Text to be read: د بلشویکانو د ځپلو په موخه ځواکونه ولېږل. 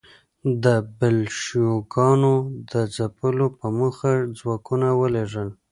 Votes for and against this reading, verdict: 2, 1, accepted